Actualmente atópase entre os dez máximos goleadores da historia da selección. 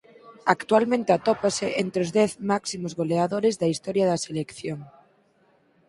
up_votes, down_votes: 4, 2